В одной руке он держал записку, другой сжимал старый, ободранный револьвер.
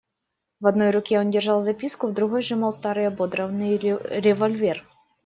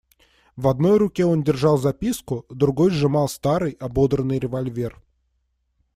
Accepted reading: second